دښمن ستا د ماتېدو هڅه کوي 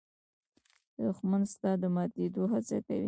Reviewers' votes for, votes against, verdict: 0, 2, rejected